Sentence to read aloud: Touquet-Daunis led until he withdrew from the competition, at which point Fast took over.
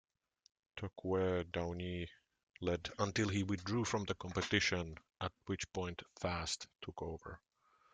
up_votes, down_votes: 0, 2